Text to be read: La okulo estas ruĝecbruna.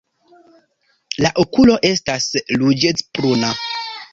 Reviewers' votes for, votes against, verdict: 1, 2, rejected